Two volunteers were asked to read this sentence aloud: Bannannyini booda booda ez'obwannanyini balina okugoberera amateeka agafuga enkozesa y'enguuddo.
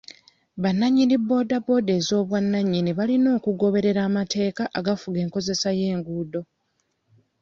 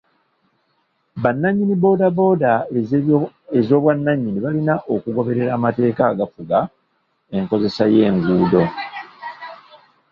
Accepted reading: first